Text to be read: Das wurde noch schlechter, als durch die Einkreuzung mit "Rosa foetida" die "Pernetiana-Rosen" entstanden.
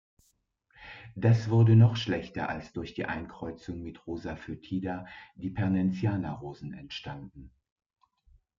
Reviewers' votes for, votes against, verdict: 2, 0, accepted